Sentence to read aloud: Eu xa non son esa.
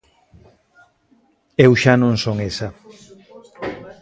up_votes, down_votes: 1, 2